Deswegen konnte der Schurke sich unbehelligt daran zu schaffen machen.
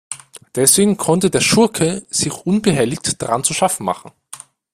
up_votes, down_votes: 0, 2